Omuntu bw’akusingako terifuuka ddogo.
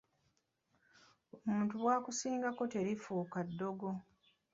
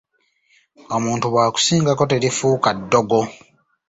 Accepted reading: second